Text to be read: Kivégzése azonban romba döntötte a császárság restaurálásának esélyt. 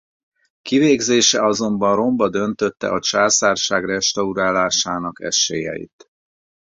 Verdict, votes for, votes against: rejected, 0, 4